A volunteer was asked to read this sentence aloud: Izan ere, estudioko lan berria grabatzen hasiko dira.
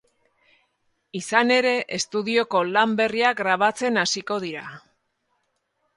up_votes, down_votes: 6, 0